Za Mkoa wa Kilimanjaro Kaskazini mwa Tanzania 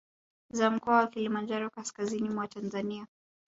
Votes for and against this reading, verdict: 1, 2, rejected